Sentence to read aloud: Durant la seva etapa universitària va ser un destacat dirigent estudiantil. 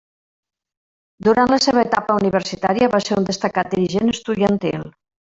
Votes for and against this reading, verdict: 1, 2, rejected